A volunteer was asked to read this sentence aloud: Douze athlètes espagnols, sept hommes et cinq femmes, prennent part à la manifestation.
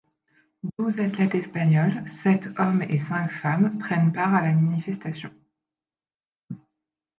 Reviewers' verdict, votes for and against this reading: accepted, 2, 0